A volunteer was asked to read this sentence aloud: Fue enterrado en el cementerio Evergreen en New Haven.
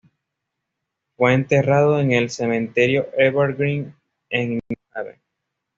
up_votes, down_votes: 1, 2